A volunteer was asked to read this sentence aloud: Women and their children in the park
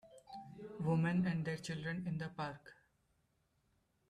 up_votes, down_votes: 2, 1